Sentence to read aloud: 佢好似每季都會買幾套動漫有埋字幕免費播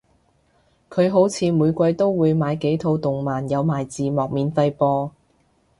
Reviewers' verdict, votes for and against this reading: accepted, 2, 0